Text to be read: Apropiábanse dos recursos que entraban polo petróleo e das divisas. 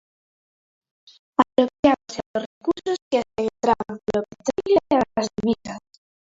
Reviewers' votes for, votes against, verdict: 0, 2, rejected